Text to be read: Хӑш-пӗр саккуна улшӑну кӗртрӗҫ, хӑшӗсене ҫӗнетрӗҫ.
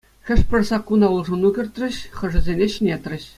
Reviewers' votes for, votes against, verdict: 2, 0, accepted